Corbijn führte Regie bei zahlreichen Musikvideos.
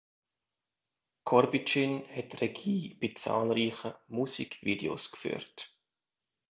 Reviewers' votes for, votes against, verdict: 0, 2, rejected